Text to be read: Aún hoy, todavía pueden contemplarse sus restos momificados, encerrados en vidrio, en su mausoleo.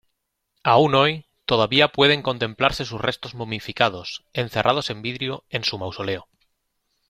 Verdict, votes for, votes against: accepted, 2, 0